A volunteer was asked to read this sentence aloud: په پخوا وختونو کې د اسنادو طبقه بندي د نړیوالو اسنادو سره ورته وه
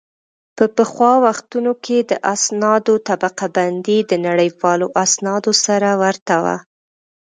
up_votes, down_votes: 2, 1